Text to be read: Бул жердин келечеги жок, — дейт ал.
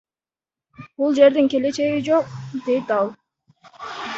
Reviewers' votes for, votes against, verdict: 1, 2, rejected